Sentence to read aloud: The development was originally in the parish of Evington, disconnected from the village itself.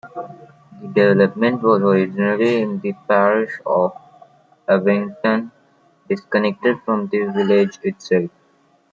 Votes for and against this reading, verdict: 2, 1, accepted